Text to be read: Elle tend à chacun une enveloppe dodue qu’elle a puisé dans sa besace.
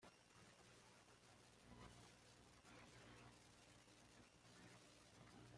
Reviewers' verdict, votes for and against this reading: rejected, 0, 2